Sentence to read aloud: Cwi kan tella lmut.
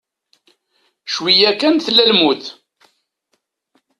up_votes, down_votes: 0, 2